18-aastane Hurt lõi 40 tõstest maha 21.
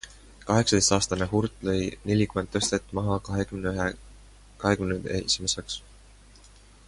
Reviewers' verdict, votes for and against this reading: rejected, 0, 2